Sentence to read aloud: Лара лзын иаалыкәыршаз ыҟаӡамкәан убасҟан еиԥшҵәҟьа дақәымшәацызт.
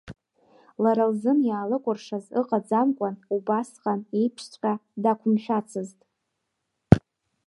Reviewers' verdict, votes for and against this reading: rejected, 0, 2